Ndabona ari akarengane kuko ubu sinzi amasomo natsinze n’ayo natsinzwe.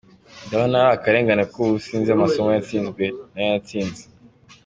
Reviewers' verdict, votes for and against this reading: accepted, 2, 0